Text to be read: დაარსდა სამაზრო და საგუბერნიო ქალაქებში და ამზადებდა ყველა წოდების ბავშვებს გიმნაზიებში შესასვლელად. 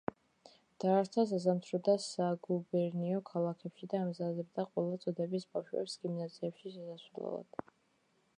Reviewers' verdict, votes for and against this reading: rejected, 1, 2